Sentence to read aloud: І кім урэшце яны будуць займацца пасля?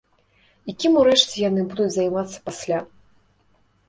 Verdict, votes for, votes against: rejected, 0, 2